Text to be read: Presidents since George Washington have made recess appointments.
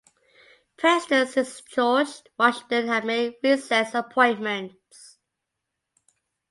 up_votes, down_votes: 2, 0